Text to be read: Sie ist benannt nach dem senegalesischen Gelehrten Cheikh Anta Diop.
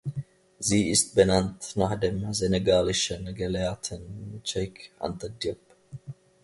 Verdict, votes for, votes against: rejected, 0, 2